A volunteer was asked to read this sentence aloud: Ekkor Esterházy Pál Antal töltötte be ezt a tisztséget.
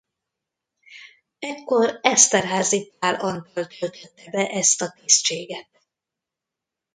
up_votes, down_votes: 0, 2